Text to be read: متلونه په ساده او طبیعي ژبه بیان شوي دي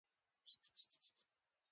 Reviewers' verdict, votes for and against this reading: rejected, 0, 2